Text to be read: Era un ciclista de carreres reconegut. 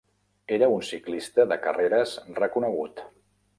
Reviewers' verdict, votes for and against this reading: accepted, 3, 0